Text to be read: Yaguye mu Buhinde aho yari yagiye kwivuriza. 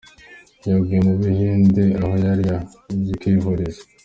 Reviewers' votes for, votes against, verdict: 2, 0, accepted